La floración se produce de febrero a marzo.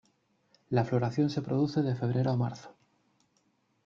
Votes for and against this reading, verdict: 2, 0, accepted